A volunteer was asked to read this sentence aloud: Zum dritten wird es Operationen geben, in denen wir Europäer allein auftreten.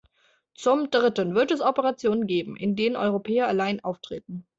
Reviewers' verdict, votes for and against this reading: rejected, 0, 2